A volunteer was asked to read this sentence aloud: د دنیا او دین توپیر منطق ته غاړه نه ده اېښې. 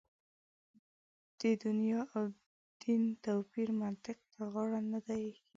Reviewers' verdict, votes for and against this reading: rejected, 0, 2